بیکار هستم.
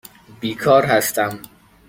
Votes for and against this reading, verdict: 2, 0, accepted